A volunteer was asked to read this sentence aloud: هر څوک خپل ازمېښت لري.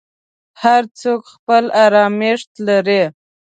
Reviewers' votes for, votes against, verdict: 1, 2, rejected